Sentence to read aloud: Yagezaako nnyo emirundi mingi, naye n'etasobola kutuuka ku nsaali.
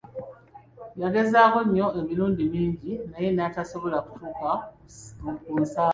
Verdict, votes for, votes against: rejected, 0, 2